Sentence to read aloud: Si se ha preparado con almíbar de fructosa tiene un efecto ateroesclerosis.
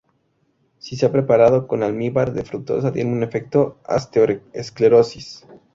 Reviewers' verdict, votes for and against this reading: rejected, 0, 2